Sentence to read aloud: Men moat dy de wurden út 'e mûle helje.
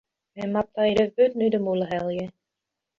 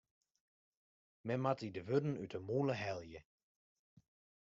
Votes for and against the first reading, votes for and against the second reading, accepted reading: 0, 2, 2, 0, second